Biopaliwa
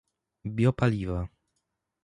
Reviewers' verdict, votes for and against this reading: accepted, 2, 0